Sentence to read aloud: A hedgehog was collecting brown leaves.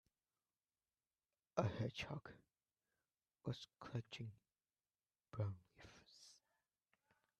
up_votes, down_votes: 1, 2